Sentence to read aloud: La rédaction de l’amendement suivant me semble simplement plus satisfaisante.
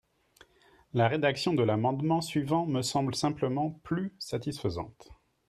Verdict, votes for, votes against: accepted, 3, 0